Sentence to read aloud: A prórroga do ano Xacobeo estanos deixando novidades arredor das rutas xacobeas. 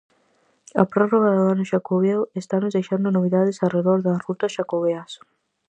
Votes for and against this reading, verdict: 4, 0, accepted